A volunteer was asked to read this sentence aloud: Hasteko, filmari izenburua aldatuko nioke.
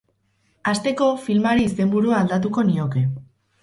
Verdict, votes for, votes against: rejected, 0, 4